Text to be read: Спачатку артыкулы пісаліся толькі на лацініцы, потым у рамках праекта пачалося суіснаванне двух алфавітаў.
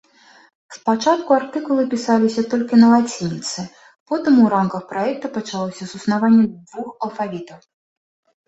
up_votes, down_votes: 2, 0